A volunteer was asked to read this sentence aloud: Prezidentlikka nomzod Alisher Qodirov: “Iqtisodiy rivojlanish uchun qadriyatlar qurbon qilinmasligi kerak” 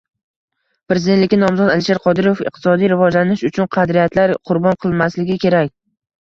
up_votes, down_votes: 1, 2